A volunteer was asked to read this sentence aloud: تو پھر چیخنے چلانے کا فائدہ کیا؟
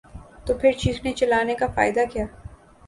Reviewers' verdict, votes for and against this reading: accepted, 2, 0